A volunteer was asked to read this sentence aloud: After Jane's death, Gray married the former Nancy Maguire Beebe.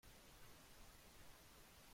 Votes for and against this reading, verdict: 0, 2, rejected